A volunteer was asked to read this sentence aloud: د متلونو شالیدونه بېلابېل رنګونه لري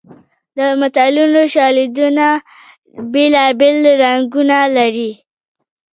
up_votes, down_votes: 3, 2